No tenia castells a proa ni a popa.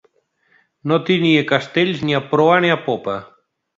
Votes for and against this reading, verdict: 1, 2, rejected